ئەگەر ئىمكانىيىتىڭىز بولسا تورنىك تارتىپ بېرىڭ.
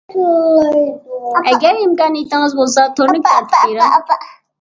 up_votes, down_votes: 0, 2